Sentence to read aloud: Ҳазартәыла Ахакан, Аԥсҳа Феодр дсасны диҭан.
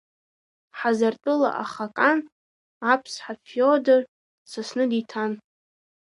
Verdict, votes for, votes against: rejected, 0, 2